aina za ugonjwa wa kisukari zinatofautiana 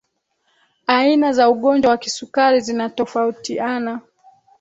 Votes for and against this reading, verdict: 2, 0, accepted